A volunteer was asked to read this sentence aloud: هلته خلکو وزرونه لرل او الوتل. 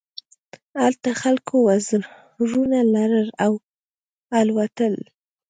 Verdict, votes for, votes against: accepted, 2, 0